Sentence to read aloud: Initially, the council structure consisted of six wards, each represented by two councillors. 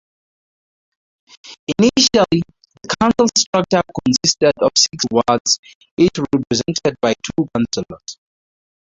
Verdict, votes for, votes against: rejected, 0, 2